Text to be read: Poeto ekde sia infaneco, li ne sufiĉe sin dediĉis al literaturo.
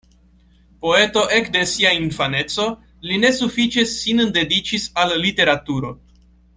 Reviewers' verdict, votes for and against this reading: rejected, 0, 2